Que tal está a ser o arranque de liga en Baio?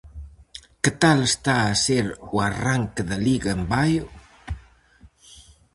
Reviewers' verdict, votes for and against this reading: rejected, 0, 4